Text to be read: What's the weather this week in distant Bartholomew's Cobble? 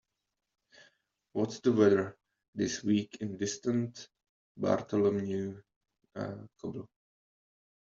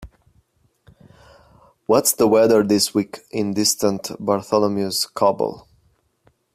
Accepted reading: second